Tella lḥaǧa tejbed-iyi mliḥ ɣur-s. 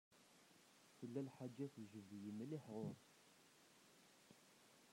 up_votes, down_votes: 0, 2